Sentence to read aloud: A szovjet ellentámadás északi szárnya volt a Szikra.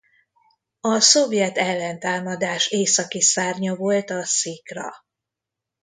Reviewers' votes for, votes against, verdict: 2, 1, accepted